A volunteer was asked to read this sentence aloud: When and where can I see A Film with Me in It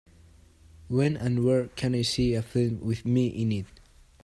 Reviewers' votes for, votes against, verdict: 2, 0, accepted